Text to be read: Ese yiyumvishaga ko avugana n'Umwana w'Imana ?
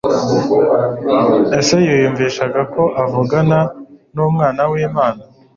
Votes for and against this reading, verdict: 2, 0, accepted